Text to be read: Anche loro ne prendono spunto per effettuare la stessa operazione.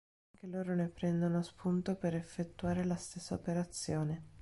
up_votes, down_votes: 1, 2